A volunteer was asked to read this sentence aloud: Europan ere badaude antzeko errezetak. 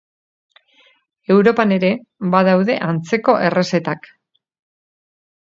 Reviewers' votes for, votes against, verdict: 6, 0, accepted